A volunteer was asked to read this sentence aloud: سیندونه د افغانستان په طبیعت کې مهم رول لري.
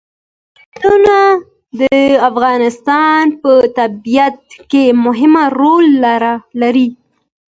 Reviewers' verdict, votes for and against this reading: accepted, 2, 0